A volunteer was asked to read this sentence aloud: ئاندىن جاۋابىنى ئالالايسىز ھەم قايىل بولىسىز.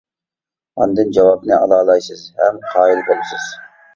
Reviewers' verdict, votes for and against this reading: accepted, 2, 0